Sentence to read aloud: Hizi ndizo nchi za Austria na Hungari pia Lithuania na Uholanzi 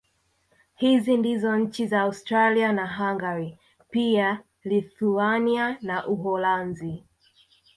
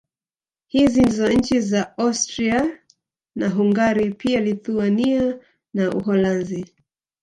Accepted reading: second